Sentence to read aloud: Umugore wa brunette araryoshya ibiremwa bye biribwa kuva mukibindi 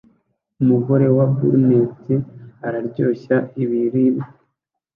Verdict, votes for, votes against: rejected, 0, 2